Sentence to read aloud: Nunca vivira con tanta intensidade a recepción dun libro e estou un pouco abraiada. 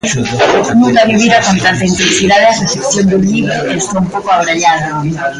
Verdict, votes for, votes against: rejected, 0, 2